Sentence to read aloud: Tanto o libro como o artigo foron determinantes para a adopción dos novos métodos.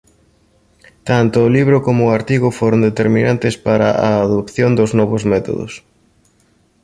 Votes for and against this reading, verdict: 2, 0, accepted